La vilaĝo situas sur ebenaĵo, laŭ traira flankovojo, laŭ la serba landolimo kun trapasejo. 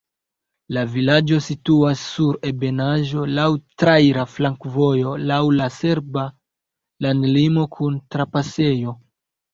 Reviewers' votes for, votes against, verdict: 0, 2, rejected